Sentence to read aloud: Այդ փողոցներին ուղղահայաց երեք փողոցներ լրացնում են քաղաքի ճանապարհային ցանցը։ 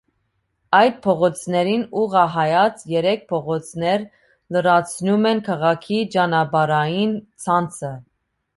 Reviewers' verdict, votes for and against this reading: accepted, 2, 0